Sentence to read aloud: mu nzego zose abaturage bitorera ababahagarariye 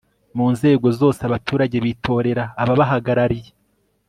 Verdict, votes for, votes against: accepted, 2, 0